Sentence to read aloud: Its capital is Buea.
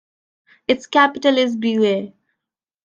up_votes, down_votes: 1, 2